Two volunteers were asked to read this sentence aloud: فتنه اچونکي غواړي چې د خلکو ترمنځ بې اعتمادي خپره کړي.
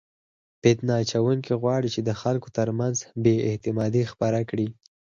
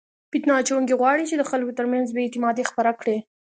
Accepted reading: second